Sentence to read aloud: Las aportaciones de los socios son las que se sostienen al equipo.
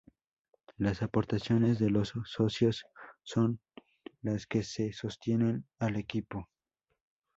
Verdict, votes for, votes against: accepted, 4, 0